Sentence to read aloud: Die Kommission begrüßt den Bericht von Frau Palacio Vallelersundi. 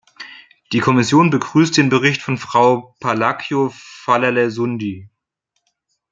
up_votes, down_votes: 1, 2